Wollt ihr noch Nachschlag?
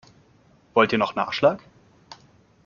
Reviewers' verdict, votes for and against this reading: accepted, 2, 0